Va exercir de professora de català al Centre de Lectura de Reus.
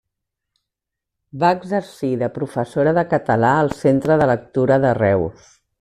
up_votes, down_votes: 3, 0